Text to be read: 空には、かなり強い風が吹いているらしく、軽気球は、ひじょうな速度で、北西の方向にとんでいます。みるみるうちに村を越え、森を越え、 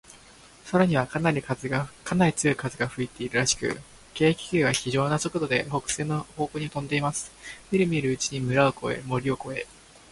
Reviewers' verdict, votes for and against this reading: rejected, 0, 2